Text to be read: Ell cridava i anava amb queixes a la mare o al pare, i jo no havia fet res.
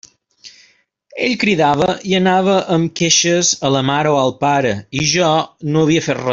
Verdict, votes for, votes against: rejected, 1, 2